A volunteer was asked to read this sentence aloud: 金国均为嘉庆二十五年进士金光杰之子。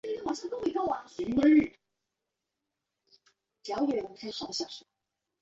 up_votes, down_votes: 1, 2